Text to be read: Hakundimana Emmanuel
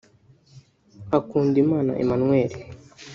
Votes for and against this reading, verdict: 1, 2, rejected